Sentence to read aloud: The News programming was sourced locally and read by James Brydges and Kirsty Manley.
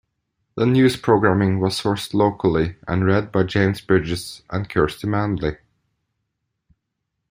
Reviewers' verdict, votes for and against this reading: accepted, 2, 0